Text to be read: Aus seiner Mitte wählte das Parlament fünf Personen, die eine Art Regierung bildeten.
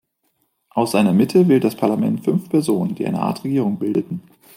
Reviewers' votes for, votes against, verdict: 1, 2, rejected